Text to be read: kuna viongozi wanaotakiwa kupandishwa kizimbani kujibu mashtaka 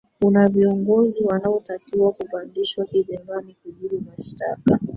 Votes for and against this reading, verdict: 4, 2, accepted